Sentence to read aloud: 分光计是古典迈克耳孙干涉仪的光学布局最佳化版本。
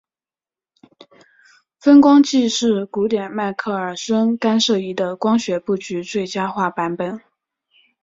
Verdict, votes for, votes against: accepted, 3, 0